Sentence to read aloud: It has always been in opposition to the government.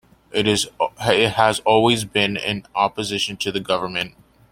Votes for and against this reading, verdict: 2, 0, accepted